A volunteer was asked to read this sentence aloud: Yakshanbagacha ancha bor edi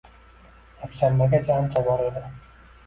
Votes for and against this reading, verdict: 1, 2, rejected